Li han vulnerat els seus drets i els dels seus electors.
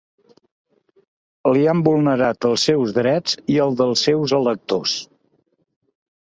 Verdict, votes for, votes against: rejected, 1, 2